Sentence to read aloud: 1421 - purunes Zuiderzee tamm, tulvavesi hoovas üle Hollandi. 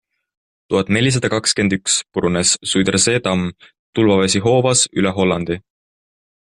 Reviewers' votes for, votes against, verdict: 0, 2, rejected